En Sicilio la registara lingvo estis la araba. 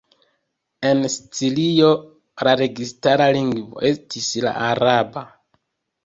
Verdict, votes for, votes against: accepted, 2, 0